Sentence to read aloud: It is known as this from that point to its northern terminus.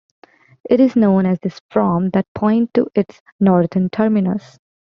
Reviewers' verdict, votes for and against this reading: accepted, 2, 1